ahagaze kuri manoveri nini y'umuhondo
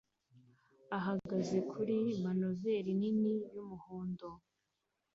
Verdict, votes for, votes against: accepted, 2, 1